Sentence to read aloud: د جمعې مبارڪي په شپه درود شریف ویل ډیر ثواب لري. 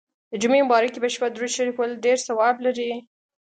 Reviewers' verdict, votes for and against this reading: accepted, 2, 0